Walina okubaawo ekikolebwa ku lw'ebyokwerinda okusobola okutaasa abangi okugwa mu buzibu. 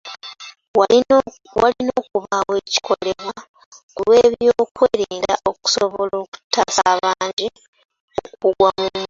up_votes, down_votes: 0, 2